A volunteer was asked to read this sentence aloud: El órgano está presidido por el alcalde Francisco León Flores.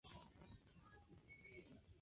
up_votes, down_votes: 0, 2